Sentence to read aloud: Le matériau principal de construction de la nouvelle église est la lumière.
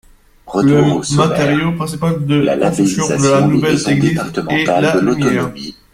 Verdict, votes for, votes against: rejected, 0, 2